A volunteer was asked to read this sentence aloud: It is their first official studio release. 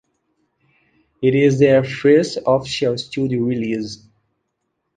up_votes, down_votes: 1, 2